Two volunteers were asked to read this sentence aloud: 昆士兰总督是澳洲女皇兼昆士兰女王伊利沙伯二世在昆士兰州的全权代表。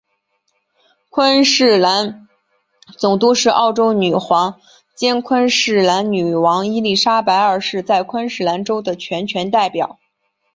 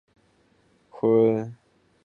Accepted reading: first